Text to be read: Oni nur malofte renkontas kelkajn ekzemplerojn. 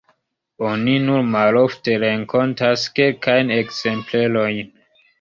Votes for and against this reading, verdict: 2, 1, accepted